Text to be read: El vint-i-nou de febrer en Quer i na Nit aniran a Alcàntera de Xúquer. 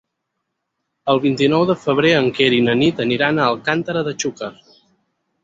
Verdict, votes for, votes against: accepted, 4, 0